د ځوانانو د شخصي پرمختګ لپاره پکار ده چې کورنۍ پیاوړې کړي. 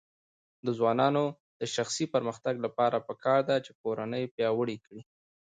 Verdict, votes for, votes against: accepted, 2, 0